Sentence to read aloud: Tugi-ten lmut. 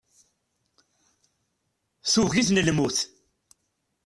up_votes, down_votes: 1, 2